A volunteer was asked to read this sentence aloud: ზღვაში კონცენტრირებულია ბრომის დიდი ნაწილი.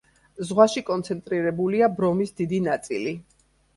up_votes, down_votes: 2, 0